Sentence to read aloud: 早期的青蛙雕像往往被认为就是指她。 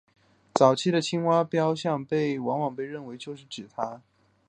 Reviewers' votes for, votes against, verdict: 0, 2, rejected